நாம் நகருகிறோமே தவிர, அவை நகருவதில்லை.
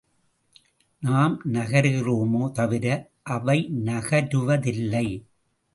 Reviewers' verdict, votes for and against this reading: accepted, 2, 0